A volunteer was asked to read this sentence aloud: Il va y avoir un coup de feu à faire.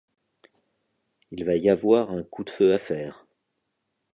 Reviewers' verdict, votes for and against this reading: accepted, 2, 0